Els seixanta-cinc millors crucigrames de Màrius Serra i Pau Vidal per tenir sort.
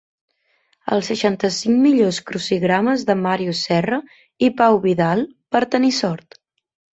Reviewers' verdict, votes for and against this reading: accepted, 2, 0